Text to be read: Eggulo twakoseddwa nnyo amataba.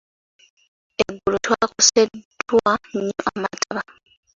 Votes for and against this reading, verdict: 2, 0, accepted